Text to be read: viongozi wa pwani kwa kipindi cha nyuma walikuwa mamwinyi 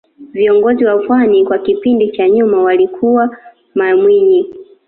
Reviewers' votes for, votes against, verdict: 2, 1, accepted